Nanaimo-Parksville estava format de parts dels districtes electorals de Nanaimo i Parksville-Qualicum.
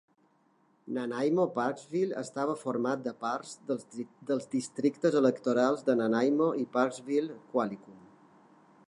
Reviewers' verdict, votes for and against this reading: rejected, 1, 2